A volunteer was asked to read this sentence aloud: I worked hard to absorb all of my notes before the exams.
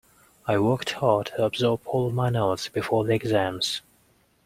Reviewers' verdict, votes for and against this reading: accepted, 2, 0